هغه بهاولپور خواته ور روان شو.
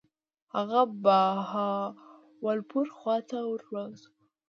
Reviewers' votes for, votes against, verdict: 0, 2, rejected